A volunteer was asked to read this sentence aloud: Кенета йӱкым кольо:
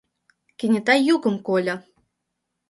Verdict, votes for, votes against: accepted, 2, 0